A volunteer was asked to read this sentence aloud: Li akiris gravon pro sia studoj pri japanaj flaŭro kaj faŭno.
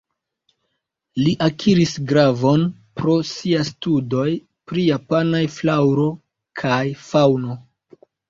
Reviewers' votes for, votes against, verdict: 2, 0, accepted